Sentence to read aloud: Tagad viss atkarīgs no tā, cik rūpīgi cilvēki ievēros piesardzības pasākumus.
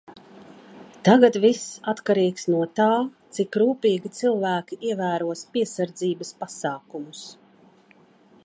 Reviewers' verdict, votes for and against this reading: accepted, 2, 0